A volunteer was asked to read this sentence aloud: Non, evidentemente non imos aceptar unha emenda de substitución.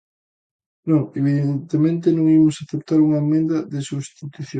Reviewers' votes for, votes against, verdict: 0, 2, rejected